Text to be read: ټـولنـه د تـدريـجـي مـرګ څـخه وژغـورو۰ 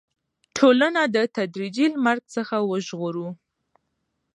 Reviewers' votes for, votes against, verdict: 0, 2, rejected